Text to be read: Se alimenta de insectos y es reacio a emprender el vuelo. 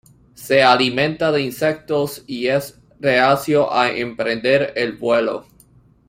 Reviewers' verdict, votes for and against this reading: accepted, 2, 0